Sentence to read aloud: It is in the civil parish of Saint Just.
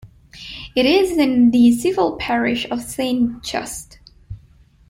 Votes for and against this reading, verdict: 2, 0, accepted